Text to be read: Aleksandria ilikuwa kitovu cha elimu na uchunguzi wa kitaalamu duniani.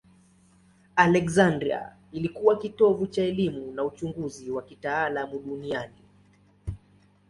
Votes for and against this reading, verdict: 2, 0, accepted